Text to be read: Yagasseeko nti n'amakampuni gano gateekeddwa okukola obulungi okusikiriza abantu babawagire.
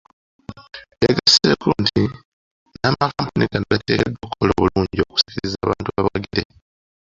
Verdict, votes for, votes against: rejected, 1, 2